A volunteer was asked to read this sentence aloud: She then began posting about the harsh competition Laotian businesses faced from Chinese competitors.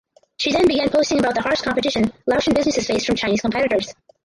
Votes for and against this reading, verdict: 0, 4, rejected